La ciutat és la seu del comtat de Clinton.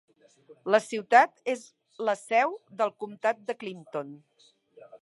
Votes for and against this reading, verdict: 3, 0, accepted